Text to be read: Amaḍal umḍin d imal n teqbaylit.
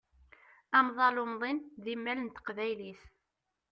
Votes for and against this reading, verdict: 0, 2, rejected